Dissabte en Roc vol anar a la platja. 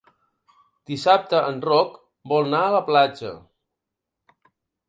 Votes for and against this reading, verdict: 1, 2, rejected